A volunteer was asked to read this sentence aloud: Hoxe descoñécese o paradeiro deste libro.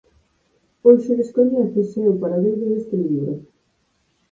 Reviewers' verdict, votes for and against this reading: rejected, 0, 4